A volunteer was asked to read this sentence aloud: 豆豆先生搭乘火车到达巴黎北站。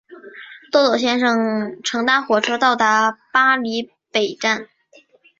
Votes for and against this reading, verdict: 2, 1, accepted